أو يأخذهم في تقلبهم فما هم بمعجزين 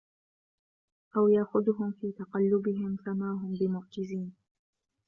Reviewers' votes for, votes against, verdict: 2, 0, accepted